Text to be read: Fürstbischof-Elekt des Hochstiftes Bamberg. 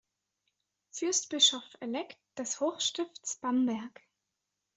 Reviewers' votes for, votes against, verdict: 2, 1, accepted